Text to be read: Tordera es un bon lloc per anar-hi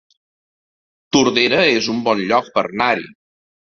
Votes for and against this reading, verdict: 1, 2, rejected